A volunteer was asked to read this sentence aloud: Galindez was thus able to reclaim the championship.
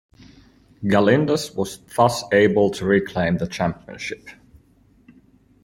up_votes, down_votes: 2, 0